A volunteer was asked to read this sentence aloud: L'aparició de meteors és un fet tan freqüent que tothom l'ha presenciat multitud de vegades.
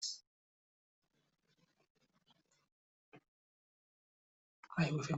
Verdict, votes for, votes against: rejected, 0, 2